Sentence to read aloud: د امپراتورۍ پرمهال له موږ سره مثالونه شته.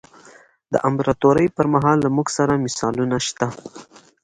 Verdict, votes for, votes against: accepted, 2, 0